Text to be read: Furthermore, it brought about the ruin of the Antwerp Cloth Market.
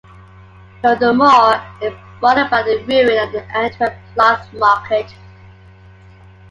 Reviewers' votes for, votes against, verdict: 1, 2, rejected